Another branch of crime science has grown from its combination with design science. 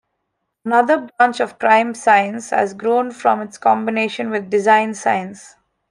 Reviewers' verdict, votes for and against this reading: accepted, 3, 0